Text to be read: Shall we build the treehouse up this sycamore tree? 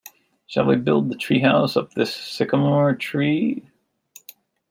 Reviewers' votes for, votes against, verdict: 2, 0, accepted